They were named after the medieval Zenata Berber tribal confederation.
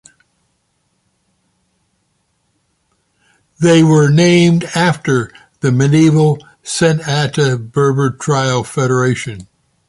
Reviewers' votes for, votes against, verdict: 1, 2, rejected